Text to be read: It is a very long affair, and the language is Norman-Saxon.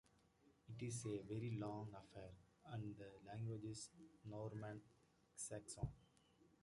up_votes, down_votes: 2, 0